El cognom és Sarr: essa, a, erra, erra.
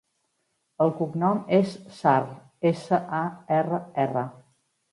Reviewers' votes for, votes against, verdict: 2, 0, accepted